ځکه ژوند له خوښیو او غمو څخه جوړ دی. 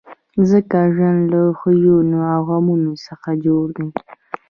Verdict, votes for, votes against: rejected, 1, 2